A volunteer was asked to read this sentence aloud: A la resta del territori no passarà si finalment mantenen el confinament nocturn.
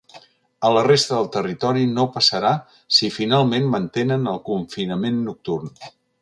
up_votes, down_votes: 3, 0